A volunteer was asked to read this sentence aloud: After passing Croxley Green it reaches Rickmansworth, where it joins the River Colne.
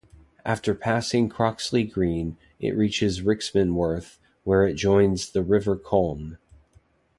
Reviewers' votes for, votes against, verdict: 1, 2, rejected